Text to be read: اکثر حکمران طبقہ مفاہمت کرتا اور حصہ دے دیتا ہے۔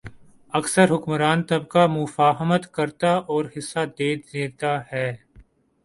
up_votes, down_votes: 2, 0